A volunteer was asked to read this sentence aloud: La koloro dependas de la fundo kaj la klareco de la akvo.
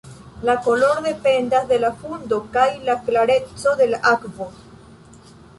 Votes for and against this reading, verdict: 1, 2, rejected